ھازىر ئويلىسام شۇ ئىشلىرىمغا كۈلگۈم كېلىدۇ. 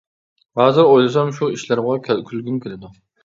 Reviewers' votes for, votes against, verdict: 0, 2, rejected